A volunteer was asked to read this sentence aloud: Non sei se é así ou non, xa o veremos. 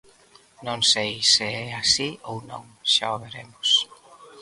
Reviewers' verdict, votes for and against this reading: accepted, 2, 0